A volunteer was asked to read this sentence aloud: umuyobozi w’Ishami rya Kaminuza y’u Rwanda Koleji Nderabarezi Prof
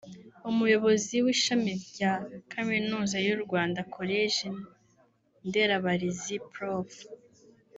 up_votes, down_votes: 1, 2